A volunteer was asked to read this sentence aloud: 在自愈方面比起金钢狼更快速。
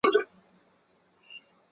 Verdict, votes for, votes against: rejected, 1, 5